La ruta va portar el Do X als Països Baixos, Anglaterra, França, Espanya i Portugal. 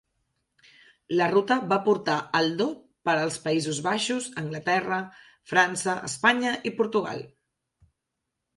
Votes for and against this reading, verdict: 0, 2, rejected